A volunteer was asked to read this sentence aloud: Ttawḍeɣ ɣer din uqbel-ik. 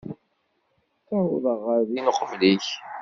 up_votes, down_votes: 0, 2